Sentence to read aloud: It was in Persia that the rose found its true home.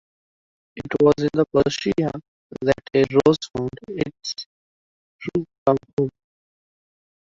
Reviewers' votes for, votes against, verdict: 0, 2, rejected